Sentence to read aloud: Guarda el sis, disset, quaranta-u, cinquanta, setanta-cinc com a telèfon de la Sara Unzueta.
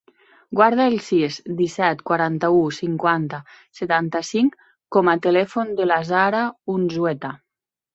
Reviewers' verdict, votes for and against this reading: accepted, 2, 0